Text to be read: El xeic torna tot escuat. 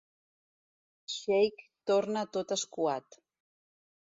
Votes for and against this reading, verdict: 0, 2, rejected